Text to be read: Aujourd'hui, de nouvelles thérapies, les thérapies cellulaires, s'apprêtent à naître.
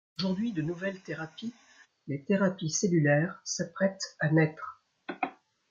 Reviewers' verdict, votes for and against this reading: accepted, 2, 1